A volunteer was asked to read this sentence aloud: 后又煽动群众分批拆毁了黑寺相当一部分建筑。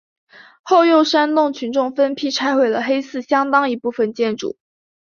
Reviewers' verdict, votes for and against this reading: accepted, 2, 1